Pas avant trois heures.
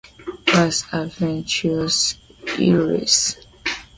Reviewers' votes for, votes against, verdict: 0, 2, rejected